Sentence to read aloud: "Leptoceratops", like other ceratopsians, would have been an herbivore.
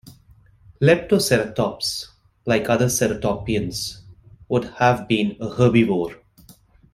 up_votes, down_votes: 0, 2